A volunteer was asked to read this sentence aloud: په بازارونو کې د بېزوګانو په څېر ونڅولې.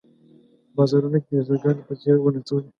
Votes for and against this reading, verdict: 0, 2, rejected